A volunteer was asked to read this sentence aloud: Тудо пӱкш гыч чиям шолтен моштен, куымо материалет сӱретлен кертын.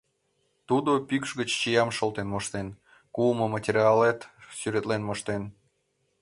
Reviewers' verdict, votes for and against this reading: rejected, 0, 2